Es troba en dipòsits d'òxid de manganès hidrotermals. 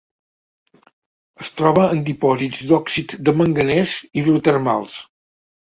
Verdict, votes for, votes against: accepted, 2, 1